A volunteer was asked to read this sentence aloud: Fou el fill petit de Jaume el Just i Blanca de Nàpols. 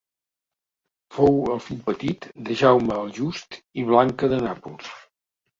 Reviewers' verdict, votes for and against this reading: accepted, 2, 0